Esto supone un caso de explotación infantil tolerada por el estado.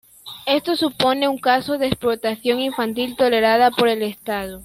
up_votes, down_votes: 1, 2